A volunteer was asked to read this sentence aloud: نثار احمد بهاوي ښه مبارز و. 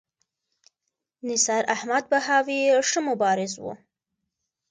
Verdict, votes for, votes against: accepted, 2, 0